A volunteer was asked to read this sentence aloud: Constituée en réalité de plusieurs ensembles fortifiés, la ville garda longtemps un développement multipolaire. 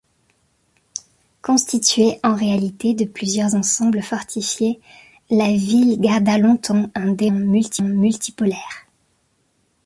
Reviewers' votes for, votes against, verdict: 0, 2, rejected